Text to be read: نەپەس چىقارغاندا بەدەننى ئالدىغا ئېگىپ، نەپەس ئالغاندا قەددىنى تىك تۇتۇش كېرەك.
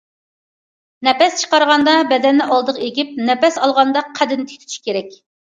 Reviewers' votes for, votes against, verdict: 2, 0, accepted